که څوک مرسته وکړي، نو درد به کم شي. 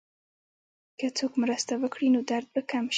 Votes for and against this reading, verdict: 1, 2, rejected